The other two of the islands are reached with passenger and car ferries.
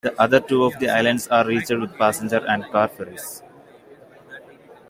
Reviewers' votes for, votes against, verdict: 2, 1, accepted